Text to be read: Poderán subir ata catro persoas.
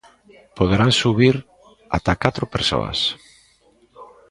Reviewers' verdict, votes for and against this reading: rejected, 0, 2